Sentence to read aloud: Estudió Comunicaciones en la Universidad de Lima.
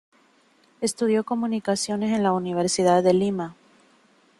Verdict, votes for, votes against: accepted, 2, 0